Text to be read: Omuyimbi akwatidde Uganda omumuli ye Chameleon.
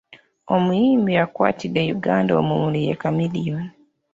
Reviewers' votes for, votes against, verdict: 2, 1, accepted